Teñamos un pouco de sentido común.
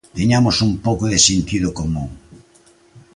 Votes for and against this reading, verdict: 2, 0, accepted